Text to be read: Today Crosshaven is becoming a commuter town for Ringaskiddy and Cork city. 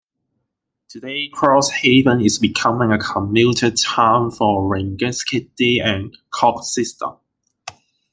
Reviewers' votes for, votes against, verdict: 0, 2, rejected